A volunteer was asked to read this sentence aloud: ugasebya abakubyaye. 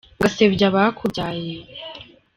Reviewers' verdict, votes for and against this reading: rejected, 1, 3